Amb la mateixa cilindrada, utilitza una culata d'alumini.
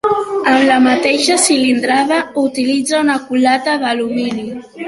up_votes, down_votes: 2, 0